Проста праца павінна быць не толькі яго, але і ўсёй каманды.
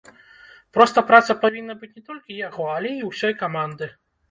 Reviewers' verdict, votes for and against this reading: rejected, 1, 2